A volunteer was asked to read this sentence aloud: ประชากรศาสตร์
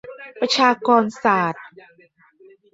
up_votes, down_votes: 2, 1